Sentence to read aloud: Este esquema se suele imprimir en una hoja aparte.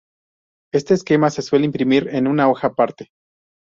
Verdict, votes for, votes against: accepted, 6, 0